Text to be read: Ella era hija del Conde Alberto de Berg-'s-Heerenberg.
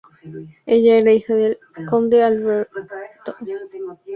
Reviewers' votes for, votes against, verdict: 0, 2, rejected